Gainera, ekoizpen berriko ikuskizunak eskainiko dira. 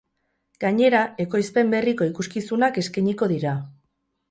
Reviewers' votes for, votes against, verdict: 2, 4, rejected